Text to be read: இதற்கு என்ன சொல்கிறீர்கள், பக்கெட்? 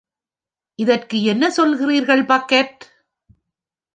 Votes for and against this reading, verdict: 3, 0, accepted